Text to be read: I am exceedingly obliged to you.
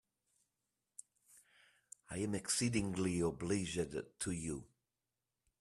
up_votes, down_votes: 0, 2